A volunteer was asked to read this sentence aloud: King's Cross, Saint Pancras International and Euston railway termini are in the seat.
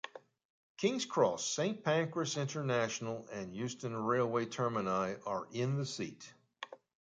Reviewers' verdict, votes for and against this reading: accepted, 2, 0